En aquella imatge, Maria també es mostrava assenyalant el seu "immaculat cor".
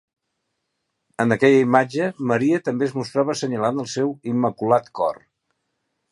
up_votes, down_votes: 2, 0